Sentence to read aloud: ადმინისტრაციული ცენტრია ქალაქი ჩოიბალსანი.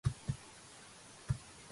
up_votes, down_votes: 1, 2